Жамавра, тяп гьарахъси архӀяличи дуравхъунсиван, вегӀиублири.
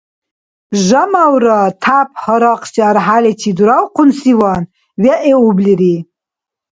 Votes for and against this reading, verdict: 2, 0, accepted